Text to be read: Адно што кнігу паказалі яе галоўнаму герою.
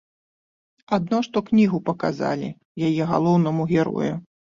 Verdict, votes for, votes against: accepted, 2, 0